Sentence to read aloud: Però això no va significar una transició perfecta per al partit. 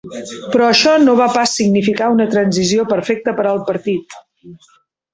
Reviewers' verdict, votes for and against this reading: rejected, 1, 2